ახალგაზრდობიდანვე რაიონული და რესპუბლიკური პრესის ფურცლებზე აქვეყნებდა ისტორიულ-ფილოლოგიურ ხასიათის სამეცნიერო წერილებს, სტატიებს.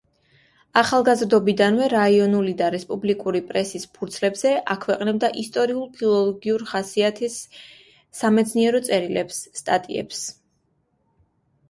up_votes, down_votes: 2, 0